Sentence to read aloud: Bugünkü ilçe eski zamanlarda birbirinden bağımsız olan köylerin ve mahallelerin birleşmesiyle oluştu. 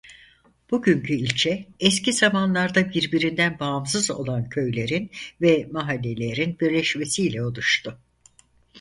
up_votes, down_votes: 4, 0